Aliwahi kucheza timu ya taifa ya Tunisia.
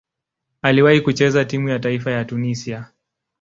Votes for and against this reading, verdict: 2, 0, accepted